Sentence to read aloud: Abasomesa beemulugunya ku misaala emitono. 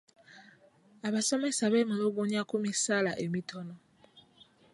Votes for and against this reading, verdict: 2, 0, accepted